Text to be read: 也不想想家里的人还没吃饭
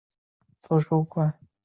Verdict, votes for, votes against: rejected, 0, 2